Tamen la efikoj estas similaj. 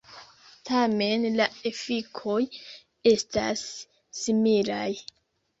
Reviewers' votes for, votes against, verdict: 0, 2, rejected